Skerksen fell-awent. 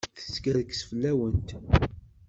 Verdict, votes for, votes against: rejected, 0, 2